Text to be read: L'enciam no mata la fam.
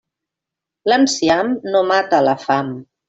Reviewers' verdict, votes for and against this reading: accepted, 2, 0